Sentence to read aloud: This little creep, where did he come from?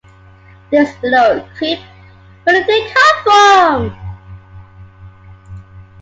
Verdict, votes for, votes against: accepted, 2, 0